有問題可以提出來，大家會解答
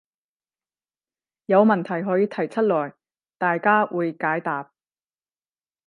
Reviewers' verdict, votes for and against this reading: accepted, 10, 0